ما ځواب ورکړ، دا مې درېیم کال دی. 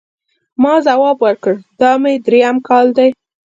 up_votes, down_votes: 2, 0